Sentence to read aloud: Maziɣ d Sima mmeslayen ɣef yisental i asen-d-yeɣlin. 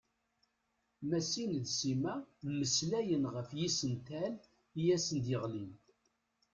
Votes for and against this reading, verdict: 1, 2, rejected